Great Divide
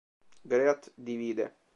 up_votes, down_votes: 1, 2